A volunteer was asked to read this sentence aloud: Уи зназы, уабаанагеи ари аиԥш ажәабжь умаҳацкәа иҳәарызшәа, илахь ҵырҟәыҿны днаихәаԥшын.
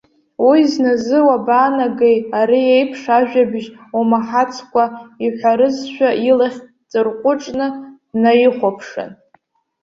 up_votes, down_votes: 1, 2